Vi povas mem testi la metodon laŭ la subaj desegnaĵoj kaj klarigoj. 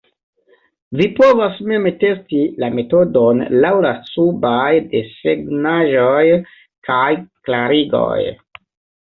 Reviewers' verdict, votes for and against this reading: rejected, 1, 2